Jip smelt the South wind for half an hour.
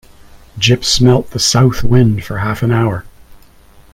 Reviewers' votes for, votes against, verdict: 2, 0, accepted